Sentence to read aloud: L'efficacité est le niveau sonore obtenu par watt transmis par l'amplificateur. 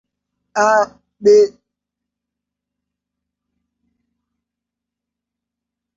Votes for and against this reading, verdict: 0, 2, rejected